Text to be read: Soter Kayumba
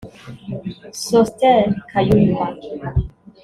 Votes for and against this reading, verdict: 2, 0, accepted